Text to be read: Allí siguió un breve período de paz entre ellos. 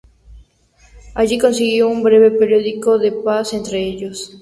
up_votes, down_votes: 2, 0